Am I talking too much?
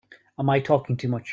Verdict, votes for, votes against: accepted, 4, 0